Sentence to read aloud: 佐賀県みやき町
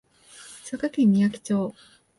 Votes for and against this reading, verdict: 2, 0, accepted